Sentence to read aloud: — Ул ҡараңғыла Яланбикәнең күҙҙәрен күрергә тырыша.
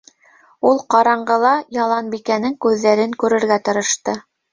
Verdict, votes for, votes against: rejected, 1, 2